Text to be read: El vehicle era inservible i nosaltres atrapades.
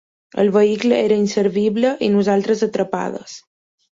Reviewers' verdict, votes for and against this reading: accepted, 3, 0